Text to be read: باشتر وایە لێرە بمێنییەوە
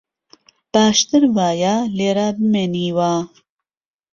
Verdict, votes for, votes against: rejected, 1, 2